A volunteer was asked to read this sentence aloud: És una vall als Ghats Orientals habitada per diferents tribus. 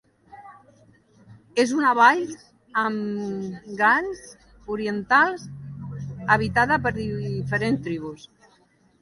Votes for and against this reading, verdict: 0, 2, rejected